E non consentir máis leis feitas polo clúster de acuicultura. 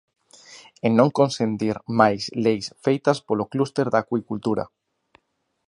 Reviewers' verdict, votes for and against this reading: rejected, 1, 2